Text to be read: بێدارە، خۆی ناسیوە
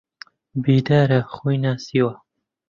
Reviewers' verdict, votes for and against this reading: accepted, 2, 0